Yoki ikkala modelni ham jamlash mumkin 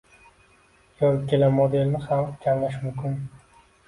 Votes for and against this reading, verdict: 2, 0, accepted